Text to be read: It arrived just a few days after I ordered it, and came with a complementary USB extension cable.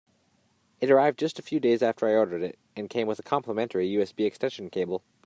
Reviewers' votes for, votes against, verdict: 3, 0, accepted